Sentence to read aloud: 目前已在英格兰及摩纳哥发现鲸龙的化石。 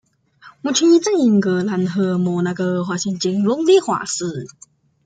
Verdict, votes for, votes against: rejected, 0, 2